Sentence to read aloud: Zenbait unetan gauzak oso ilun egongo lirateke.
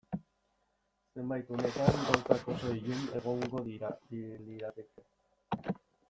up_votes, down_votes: 0, 2